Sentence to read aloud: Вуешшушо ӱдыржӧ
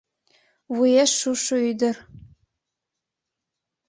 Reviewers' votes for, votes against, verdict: 1, 2, rejected